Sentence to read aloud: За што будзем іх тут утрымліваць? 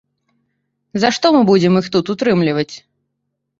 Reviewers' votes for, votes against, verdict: 0, 2, rejected